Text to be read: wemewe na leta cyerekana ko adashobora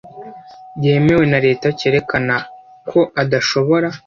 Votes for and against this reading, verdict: 0, 2, rejected